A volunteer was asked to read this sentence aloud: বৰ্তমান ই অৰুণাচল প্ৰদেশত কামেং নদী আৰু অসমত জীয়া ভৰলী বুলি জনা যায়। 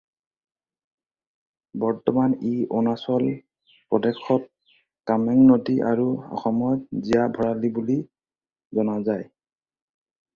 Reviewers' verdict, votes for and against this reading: accepted, 4, 2